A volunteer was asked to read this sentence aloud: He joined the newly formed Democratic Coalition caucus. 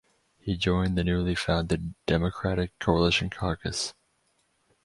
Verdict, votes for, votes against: rejected, 2, 4